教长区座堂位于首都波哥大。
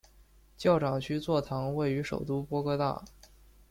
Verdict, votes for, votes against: accepted, 2, 0